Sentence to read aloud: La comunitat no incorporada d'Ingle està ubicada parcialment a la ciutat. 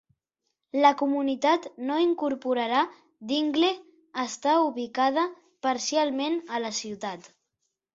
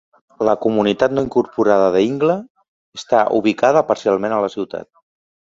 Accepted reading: second